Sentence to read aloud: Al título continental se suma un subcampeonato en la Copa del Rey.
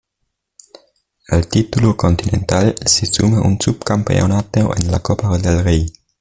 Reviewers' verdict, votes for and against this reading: accepted, 2, 0